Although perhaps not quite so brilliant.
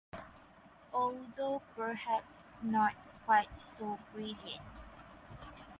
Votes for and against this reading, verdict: 4, 0, accepted